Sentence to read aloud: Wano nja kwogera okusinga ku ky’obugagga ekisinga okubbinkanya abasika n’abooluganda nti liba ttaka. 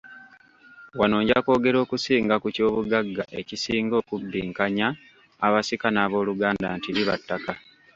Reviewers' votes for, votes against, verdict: 1, 2, rejected